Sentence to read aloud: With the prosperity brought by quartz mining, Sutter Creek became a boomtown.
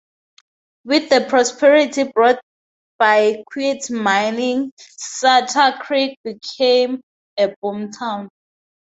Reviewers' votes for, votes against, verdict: 2, 0, accepted